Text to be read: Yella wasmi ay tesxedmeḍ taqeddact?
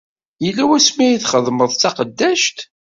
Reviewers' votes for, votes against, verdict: 1, 2, rejected